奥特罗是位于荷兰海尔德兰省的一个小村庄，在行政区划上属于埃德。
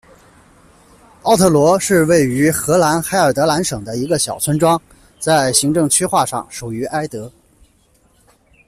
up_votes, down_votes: 2, 0